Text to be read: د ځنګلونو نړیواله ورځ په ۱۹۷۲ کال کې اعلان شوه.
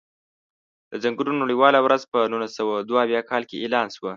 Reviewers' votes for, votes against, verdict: 0, 2, rejected